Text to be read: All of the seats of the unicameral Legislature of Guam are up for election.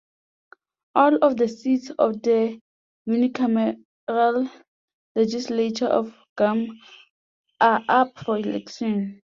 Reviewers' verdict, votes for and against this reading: rejected, 0, 2